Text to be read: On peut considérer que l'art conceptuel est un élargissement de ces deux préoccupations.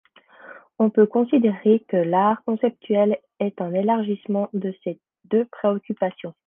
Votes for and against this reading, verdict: 2, 0, accepted